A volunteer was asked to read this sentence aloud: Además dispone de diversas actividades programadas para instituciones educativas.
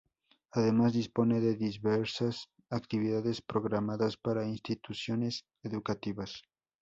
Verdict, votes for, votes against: rejected, 0, 2